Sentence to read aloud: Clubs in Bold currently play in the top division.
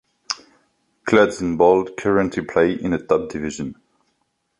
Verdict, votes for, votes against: accepted, 3, 0